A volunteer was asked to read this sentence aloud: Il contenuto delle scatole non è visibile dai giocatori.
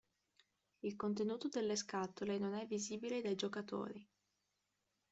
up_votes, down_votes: 0, 2